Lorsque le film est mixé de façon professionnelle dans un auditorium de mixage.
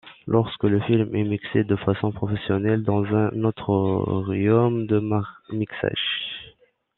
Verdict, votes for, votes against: rejected, 0, 2